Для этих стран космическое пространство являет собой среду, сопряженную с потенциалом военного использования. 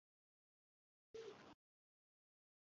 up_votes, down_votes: 0, 2